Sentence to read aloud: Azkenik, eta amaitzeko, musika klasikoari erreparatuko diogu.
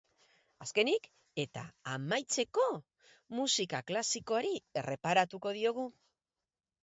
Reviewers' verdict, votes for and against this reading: accepted, 4, 0